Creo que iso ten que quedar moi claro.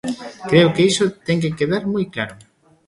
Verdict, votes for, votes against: rejected, 1, 2